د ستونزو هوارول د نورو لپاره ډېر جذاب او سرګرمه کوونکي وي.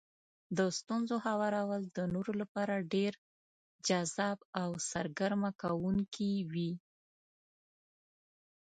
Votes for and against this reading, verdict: 2, 0, accepted